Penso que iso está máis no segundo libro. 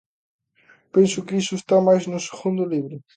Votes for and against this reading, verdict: 2, 0, accepted